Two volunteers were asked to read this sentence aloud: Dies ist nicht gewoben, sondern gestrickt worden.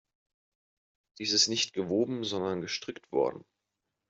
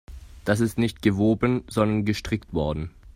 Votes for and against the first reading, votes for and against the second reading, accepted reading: 2, 0, 2, 3, first